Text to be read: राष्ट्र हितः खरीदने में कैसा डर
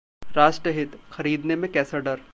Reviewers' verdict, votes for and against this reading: accepted, 2, 0